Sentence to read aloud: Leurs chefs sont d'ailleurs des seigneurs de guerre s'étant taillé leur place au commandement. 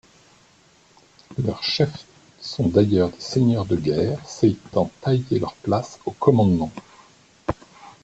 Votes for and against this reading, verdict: 2, 0, accepted